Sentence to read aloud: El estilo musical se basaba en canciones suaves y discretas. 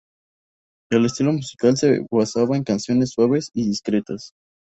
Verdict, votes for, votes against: rejected, 0, 2